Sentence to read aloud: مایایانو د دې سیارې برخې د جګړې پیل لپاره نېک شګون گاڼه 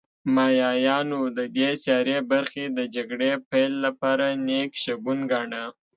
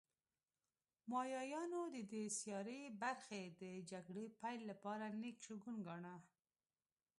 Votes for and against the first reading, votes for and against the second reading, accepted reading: 2, 0, 1, 2, first